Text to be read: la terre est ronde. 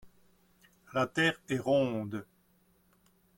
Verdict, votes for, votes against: accepted, 2, 0